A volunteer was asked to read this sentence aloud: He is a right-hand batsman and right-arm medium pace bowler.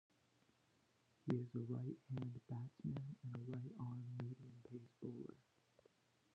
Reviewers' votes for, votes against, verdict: 1, 2, rejected